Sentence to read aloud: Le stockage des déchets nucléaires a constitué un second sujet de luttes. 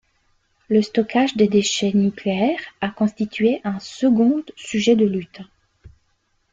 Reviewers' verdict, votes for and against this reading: rejected, 1, 2